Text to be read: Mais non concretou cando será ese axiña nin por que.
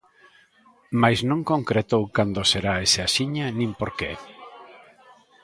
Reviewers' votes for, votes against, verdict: 2, 0, accepted